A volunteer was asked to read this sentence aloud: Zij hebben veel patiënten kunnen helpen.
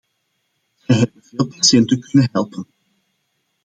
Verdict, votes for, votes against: rejected, 1, 2